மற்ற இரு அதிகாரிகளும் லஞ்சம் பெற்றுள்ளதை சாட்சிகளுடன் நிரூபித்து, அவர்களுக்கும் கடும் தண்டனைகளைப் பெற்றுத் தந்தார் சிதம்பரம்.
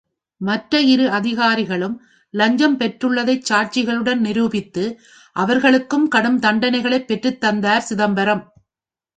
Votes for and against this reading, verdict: 3, 0, accepted